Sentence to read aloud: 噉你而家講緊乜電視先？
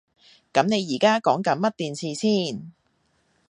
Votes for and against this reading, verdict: 2, 0, accepted